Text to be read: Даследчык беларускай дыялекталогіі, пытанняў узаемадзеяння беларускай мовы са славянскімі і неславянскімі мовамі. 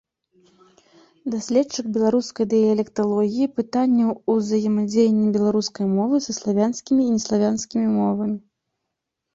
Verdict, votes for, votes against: accepted, 3, 1